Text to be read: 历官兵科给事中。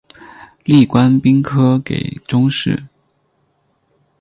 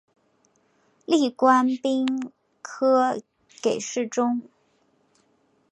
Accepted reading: second